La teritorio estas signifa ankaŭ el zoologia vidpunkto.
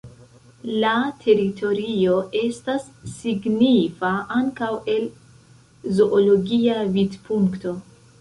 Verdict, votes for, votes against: accepted, 2, 0